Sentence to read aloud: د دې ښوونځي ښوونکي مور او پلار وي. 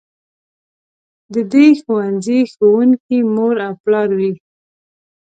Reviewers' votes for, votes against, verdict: 2, 1, accepted